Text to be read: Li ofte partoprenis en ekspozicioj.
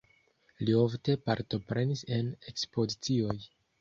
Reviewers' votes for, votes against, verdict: 2, 0, accepted